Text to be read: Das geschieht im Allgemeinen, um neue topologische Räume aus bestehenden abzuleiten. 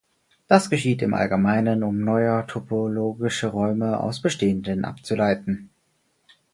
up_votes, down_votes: 4, 2